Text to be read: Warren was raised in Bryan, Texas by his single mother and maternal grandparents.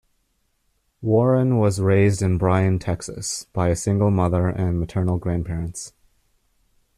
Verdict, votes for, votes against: rejected, 0, 2